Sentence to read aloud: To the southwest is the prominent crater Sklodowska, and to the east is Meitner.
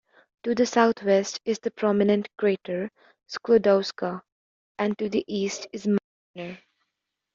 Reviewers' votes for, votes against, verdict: 0, 2, rejected